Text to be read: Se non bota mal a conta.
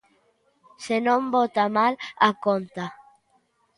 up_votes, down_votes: 2, 0